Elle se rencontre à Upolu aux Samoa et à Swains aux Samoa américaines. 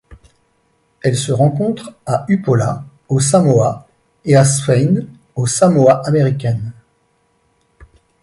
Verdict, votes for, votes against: rejected, 1, 2